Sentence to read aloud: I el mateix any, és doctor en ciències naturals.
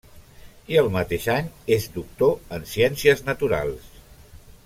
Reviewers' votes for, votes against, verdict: 3, 0, accepted